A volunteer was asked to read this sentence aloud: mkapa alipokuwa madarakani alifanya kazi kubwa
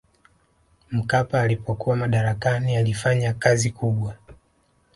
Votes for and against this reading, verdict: 1, 2, rejected